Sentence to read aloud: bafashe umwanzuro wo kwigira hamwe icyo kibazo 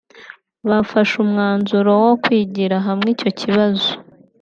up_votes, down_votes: 2, 1